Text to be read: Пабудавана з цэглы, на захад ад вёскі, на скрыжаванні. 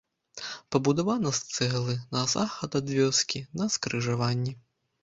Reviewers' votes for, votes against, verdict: 2, 0, accepted